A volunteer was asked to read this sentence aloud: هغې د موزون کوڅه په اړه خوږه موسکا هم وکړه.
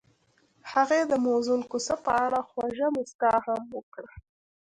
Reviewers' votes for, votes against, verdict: 2, 0, accepted